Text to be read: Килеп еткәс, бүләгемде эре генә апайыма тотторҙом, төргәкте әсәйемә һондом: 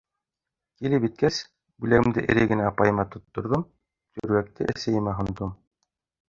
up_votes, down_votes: 1, 2